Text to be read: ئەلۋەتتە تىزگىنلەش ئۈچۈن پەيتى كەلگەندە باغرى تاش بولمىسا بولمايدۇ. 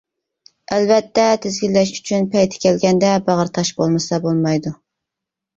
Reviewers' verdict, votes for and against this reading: accepted, 2, 0